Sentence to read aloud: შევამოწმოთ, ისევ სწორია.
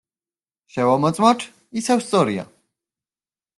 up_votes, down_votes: 2, 0